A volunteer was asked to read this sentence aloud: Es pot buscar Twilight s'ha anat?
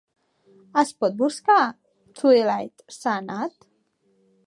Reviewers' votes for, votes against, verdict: 2, 0, accepted